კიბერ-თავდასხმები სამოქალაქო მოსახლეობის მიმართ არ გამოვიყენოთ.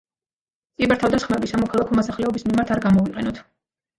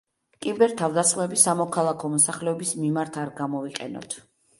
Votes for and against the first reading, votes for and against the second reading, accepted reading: 1, 2, 2, 0, second